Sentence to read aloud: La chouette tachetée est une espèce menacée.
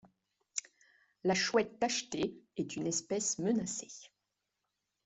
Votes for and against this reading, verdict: 1, 2, rejected